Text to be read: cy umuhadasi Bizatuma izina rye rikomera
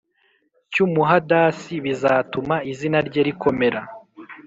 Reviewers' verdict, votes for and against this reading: accepted, 3, 0